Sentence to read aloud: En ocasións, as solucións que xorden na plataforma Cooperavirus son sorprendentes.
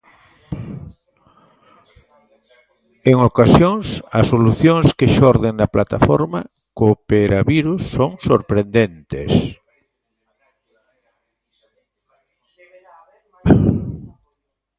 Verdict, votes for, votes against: rejected, 1, 2